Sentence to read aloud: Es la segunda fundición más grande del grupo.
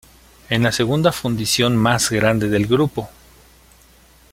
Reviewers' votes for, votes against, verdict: 0, 2, rejected